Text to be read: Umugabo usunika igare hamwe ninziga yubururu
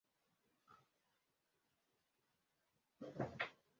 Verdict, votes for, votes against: rejected, 0, 2